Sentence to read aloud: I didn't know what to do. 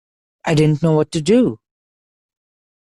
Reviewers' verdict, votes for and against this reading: accepted, 2, 0